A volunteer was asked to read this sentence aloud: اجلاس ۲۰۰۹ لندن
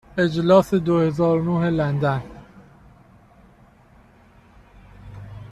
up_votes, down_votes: 0, 2